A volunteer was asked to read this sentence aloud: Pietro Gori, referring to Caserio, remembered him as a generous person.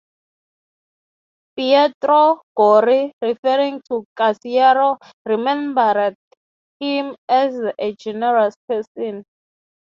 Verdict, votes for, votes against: accepted, 3, 0